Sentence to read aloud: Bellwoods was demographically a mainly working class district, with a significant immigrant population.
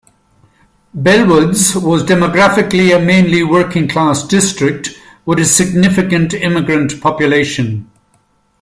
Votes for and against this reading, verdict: 2, 0, accepted